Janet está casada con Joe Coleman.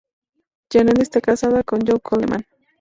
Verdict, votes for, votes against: accepted, 2, 0